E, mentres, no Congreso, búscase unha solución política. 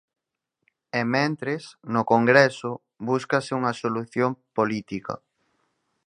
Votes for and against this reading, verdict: 4, 0, accepted